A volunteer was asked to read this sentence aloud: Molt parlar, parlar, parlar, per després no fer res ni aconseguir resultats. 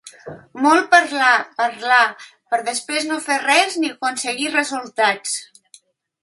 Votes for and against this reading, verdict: 0, 3, rejected